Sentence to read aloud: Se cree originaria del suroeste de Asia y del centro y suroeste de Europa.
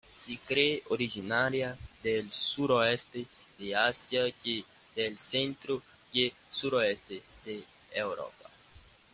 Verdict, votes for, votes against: accepted, 2, 1